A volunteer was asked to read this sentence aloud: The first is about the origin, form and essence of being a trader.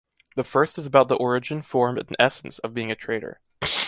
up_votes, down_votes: 2, 0